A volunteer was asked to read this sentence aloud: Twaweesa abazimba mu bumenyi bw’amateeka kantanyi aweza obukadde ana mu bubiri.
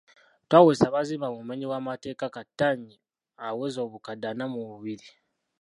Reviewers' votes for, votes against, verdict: 0, 2, rejected